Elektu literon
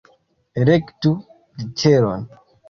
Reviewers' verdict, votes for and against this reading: rejected, 1, 2